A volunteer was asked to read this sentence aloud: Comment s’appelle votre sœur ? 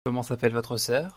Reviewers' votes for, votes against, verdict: 2, 0, accepted